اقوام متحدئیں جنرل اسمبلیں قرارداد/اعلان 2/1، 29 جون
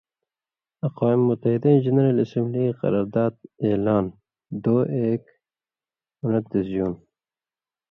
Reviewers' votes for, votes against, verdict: 0, 2, rejected